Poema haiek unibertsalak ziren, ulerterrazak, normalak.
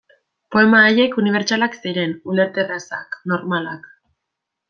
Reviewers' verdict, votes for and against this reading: accepted, 2, 0